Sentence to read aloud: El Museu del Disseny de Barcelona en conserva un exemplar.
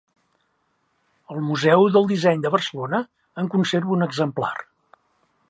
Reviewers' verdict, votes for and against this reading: accepted, 2, 0